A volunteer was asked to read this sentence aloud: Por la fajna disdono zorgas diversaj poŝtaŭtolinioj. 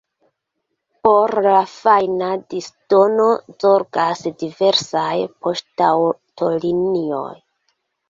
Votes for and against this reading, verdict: 2, 0, accepted